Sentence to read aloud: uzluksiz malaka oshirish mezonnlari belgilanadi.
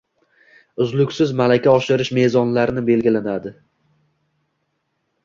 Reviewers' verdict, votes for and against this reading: accepted, 2, 1